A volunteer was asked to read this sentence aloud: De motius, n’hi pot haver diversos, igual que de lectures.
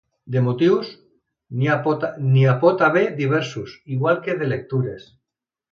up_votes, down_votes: 0, 2